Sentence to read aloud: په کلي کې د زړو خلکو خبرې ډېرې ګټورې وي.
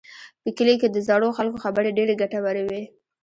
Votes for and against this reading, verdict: 2, 1, accepted